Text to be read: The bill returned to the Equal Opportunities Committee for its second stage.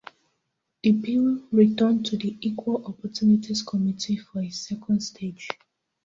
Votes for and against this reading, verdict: 0, 2, rejected